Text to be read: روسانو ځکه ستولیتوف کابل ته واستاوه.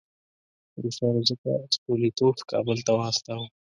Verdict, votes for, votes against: accepted, 3, 0